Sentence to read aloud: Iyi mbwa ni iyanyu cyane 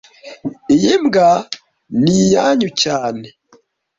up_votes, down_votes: 2, 0